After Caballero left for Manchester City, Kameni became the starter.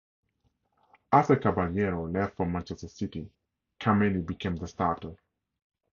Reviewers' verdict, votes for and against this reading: accepted, 2, 0